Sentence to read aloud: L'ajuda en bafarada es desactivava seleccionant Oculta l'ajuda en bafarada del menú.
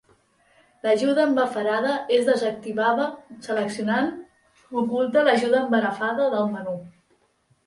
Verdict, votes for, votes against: rejected, 0, 2